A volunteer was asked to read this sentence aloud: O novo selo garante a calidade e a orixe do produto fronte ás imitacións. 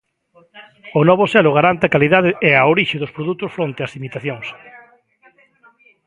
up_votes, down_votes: 0, 2